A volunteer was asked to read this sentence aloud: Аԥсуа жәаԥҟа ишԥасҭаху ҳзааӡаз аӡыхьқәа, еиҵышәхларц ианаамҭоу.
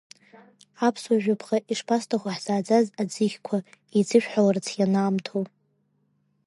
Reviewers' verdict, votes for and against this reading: accepted, 2, 1